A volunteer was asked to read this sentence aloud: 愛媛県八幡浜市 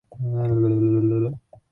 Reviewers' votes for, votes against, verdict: 0, 2, rejected